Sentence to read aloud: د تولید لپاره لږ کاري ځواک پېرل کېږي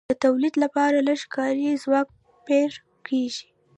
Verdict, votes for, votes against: rejected, 1, 2